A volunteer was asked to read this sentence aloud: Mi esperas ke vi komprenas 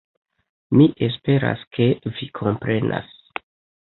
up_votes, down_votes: 1, 2